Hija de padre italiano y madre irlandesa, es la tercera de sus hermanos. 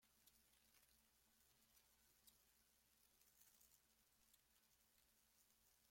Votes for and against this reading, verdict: 0, 2, rejected